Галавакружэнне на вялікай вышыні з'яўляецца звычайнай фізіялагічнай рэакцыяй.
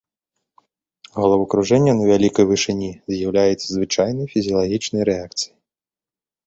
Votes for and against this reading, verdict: 2, 0, accepted